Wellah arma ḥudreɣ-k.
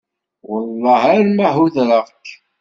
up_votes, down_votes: 0, 2